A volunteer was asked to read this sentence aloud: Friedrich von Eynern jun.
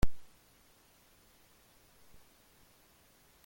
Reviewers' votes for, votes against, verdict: 0, 2, rejected